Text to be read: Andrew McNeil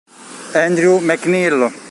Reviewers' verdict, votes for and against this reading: rejected, 1, 2